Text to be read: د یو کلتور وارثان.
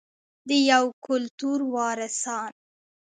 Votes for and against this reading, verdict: 2, 0, accepted